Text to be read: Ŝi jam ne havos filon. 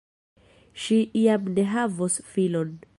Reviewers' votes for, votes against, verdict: 1, 2, rejected